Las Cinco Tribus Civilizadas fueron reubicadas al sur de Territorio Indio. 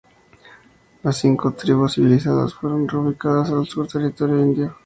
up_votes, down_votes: 2, 0